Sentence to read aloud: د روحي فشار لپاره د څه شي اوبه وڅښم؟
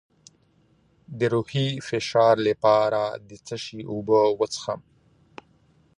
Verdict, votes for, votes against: accepted, 2, 1